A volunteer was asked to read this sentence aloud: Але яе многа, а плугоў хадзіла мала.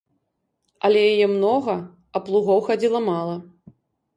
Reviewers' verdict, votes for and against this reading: accepted, 2, 0